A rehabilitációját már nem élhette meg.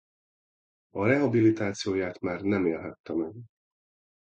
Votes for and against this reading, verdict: 2, 0, accepted